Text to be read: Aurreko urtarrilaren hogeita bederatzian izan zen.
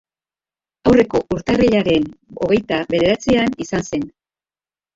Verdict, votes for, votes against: accepted, 2, 1